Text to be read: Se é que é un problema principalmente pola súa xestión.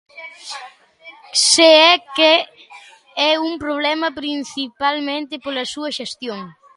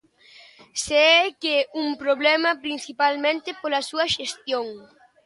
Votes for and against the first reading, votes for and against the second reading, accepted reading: 2, 1, 0, 2, first